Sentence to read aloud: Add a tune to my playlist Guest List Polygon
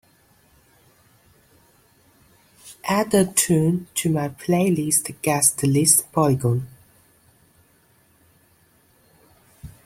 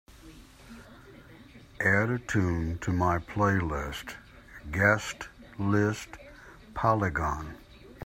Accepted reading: second